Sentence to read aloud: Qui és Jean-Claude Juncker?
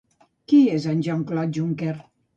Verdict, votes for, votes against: rejected, 1, 2